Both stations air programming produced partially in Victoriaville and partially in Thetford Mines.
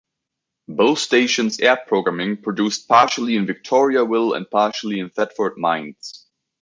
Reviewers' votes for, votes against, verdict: 2, 0, accepted